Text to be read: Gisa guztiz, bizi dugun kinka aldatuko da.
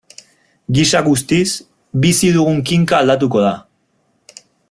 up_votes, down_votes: 2, 0